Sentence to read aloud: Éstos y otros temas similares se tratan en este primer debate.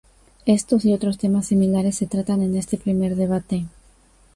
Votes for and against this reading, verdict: 2, 0, accepted